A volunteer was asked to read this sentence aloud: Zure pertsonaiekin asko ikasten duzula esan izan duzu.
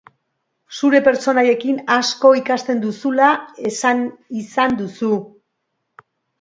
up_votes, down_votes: 1, 2